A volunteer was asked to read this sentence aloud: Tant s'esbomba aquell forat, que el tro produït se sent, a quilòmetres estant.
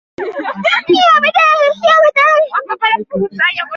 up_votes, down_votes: 0, 2